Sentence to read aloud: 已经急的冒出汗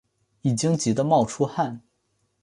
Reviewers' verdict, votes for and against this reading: accepted, 2, 0